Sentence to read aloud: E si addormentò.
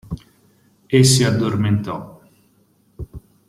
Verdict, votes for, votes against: accepted, 2, 0